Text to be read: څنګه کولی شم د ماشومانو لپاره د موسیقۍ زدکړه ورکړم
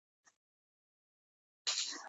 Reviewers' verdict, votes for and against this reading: rejected, 0, 2